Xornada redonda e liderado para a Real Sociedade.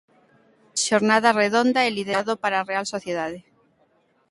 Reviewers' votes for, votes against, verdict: 2, 0, accepted